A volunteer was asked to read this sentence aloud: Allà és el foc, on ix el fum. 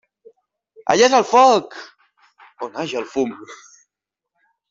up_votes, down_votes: 1, 2